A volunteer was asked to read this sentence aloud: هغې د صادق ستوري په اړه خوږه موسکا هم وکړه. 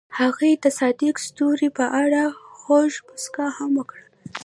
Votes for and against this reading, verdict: 2, 1, accepted